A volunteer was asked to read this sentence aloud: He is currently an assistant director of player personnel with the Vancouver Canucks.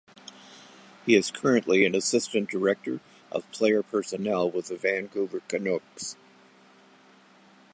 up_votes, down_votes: 0, 2